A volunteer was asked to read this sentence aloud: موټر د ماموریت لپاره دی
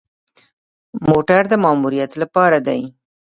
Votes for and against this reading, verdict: 1, 3, rejected